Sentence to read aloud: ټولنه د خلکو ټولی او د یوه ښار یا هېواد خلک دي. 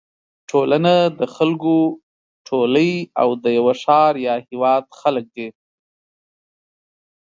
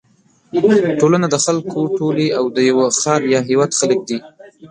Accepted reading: first